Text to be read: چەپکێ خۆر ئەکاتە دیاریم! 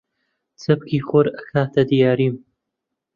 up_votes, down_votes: 1, 2